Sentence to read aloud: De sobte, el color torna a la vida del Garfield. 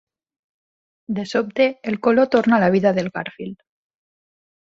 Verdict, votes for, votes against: accepted, 4, 0